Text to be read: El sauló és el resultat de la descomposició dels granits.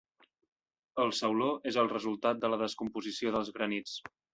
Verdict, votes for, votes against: accepted, 3, 0